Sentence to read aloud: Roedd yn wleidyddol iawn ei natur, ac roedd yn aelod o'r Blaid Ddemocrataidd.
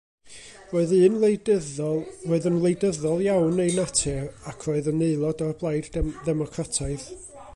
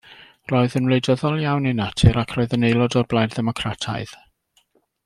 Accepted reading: second